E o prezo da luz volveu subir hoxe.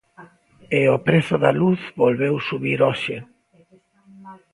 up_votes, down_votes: 2, 0